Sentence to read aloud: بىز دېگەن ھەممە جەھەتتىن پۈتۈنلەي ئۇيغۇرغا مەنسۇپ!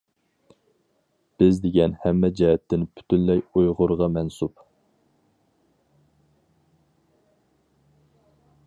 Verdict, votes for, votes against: accepted, 4, 0